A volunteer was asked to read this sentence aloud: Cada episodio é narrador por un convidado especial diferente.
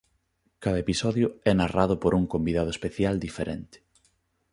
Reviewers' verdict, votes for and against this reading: rejected, 1, 2